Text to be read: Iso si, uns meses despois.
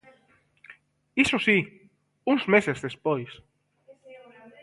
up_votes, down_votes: 2, 1